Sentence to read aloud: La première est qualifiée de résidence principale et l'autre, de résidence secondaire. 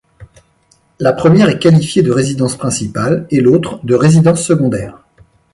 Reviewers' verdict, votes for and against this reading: accepted, 2, 0